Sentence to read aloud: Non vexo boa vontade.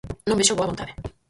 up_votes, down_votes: 2, 4